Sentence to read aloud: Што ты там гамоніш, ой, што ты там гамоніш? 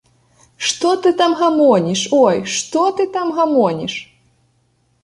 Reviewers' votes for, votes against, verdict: 2, 0, accepted